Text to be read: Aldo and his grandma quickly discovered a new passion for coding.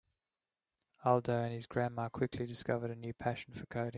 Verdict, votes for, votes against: accepted, 2, 1